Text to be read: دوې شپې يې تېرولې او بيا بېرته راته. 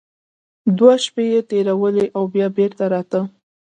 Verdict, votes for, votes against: accepted, 2, 0